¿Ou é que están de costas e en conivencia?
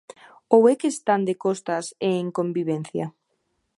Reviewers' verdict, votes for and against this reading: rejected, 1, 2